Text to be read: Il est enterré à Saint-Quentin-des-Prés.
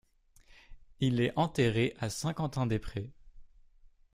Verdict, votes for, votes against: accepted, 2, 0